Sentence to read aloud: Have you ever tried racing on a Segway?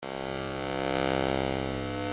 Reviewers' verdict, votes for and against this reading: rejected, 0, 2